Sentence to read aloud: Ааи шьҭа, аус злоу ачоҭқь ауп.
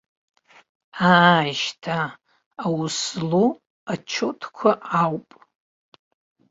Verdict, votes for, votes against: rejected, 1, 3